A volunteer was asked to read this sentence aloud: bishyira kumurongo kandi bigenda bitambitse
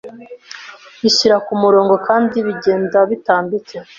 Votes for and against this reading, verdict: 2, 0, accepted